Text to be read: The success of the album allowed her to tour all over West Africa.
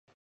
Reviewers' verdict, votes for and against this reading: rejected, 2, 2